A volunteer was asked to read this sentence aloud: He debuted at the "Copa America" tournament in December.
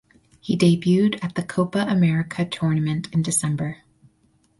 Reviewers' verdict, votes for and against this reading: rejected, 2, 2